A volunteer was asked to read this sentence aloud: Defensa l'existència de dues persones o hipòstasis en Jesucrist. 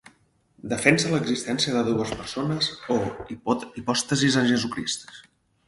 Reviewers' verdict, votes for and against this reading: rejected, 4, 6